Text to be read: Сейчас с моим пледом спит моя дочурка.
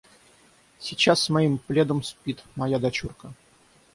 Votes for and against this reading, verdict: 3, 3, rejected